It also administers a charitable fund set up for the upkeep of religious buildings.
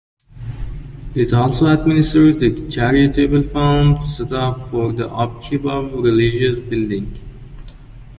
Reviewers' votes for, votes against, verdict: 1, 2, rejected